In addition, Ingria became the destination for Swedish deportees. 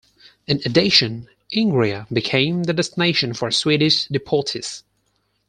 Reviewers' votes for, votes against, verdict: 0, 4, rejected